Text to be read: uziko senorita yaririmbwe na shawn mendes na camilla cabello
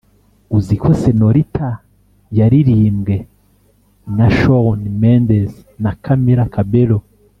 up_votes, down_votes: 4, 0